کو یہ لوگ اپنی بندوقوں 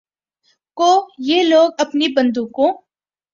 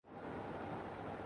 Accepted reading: first